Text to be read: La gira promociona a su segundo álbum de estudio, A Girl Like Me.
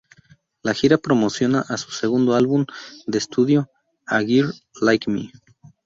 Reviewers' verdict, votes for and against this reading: rejected, 0, 2